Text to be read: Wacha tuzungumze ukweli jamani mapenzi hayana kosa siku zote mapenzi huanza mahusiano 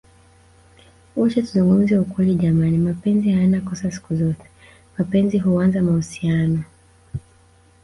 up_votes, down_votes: 1, 2